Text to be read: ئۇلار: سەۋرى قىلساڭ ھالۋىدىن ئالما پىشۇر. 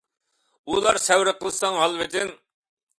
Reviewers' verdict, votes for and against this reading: rejected, 0, 2